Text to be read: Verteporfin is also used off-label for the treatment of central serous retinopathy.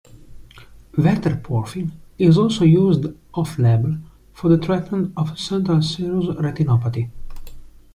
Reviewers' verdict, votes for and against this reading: rejected, 1, 2